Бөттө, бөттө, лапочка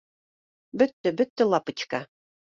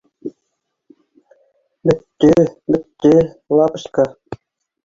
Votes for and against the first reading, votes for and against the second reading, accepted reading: 2, 0, 0, 2, first